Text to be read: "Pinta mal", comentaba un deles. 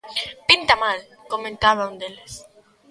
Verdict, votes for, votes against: accepted, 2, 0